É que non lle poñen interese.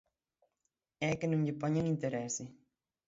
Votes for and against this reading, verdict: 3, 9, rejected